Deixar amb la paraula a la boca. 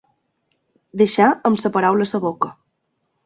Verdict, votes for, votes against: accepted, 2, 0